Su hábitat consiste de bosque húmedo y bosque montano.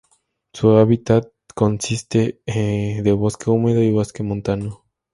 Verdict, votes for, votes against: rejected, 2, 2